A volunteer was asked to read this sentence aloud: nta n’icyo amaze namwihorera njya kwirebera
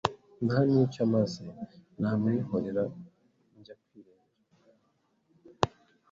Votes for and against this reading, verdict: 1, 2, rejected